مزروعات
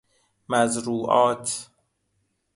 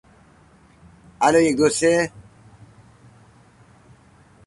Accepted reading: first